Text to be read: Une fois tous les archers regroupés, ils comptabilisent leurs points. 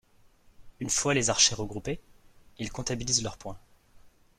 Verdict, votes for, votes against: rejected, 0, 2